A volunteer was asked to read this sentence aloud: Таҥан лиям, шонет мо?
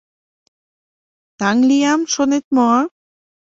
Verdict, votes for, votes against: rejected, 1, 2